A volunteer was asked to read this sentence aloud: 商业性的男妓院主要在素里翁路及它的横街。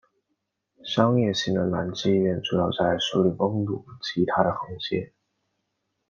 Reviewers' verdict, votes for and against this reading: accepted, 2, 1